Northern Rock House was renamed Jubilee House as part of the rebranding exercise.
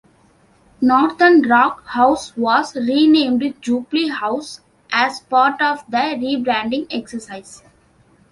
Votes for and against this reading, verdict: 2, 0, accepted